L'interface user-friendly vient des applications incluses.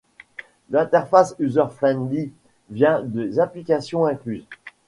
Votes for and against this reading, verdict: 2, 0, accepted